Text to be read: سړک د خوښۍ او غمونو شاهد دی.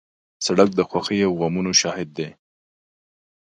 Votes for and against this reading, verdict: 2, 0, accepted